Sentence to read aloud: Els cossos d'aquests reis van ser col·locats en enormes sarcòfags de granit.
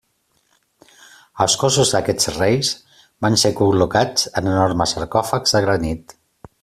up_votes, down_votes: 2, 0